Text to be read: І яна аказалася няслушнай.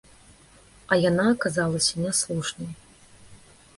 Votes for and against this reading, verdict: 0, 2, rejected